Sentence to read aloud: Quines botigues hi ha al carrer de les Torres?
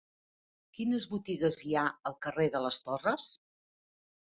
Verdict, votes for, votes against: accepted, 3, 1